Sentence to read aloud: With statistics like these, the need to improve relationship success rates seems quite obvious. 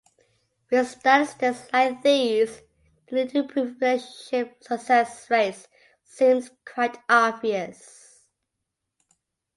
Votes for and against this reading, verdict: 2, 1, accepted